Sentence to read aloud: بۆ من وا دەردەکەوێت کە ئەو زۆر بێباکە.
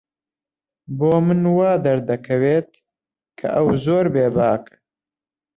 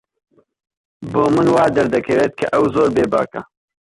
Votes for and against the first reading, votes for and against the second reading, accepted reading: 2, 1, 0, 2, first